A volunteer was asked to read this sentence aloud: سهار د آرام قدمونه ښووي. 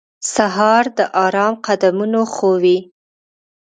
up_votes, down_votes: 2, 0